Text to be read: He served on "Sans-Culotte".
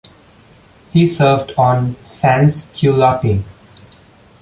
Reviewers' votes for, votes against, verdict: 2, 0, accepted